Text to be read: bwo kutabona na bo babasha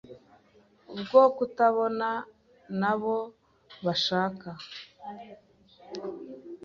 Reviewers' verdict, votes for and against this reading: rejected, 1, 2